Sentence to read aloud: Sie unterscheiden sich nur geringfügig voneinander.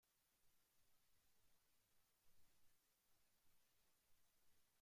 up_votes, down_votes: 0, 2